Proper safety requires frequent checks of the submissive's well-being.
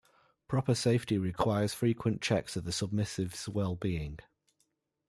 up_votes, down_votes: 2, 0